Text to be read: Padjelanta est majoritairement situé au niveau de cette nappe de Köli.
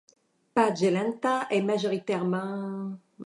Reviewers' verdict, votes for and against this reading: rejected, 0, 2